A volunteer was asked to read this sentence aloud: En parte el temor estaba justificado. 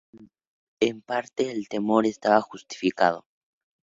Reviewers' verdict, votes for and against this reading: accepted, 2, 0